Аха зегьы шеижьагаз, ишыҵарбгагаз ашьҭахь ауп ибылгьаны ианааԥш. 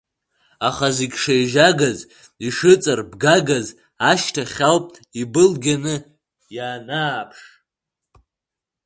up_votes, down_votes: 1, 2